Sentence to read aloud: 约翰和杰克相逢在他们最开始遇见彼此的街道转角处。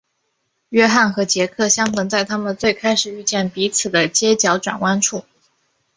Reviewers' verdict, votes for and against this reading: rejected, 1, 2